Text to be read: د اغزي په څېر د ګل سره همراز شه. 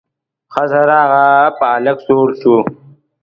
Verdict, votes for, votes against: rejected, 1, 2